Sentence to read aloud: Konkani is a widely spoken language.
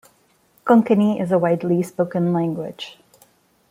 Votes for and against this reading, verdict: 2, 0, accepted